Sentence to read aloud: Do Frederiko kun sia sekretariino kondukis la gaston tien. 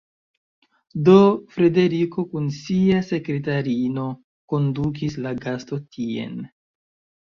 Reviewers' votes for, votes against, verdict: 1, 2, rejected